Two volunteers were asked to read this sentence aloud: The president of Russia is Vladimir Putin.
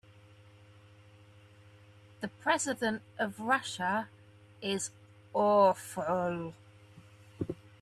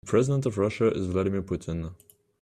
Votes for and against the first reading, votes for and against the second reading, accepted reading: 0, 2, 2, 0, second